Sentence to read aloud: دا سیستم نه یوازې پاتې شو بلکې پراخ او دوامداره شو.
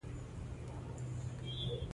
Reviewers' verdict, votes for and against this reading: accepted, 3, 1